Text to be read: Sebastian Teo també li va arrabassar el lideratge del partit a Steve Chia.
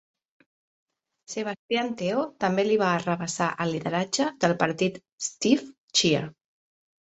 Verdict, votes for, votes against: rejected, 0, 2